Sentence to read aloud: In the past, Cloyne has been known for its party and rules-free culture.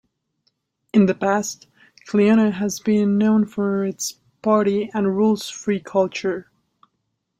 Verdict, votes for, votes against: rejected, 0, 2